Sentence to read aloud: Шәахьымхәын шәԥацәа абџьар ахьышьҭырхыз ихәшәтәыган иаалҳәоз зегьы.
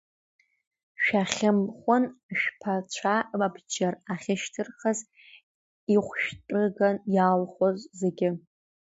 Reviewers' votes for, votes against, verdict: 0, 2, rejected